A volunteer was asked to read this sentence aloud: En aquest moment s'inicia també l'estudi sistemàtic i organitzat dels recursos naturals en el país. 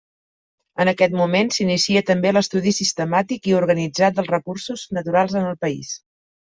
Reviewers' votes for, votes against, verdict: 3, 0, accepted